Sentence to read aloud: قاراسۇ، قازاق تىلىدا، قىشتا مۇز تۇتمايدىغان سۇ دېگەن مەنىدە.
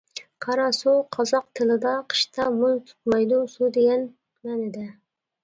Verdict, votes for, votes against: rejected, 0, 2